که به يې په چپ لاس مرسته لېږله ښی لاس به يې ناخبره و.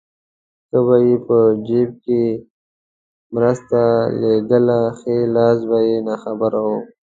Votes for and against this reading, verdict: 0, 2, rejected